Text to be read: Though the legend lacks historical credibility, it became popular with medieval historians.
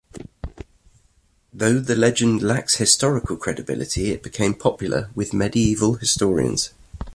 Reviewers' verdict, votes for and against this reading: accepted, 2, 1